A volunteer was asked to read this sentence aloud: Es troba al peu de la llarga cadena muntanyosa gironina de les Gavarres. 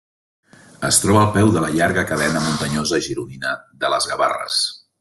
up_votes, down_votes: 2, 0